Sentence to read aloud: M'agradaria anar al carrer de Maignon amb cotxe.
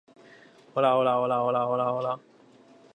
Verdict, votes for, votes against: rejected, 0, 2